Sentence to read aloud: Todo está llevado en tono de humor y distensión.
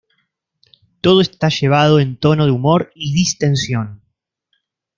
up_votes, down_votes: 2, 0